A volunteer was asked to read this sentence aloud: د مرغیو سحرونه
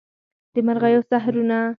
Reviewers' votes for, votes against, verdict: 4, 0, accepted